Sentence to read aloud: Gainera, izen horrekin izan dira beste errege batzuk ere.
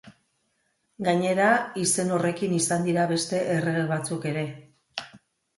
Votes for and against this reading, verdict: 3, 0, accepted